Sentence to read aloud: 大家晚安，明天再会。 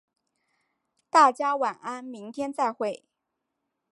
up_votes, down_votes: 4, 0